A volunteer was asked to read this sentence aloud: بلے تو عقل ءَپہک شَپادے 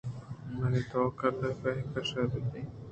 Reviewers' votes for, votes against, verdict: 2, 0, accepted